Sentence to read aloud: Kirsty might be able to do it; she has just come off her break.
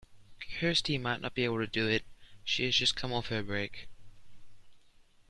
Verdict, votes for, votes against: rejected, 0, 2